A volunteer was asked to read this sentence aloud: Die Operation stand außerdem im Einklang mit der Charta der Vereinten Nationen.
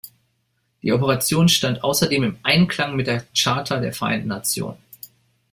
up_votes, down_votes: 2, 0